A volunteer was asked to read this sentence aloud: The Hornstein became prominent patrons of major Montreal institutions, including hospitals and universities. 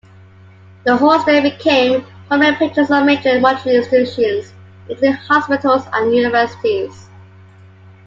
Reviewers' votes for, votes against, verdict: 1, 2, rejected